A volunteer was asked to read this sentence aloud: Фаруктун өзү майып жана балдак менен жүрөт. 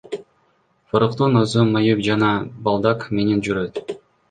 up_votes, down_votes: 2, 1